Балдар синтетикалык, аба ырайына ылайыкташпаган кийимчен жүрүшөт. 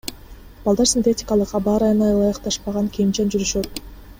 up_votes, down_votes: 2, 0